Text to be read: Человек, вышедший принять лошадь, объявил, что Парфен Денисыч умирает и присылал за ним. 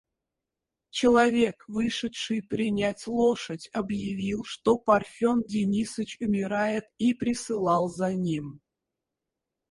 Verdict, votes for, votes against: rejected, 2, 2